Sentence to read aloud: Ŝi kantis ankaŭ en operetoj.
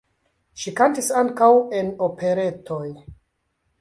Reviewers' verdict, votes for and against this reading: accepted, 2, 1